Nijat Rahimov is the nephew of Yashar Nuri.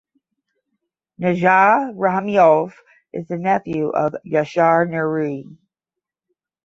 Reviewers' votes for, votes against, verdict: 10, 0, accepted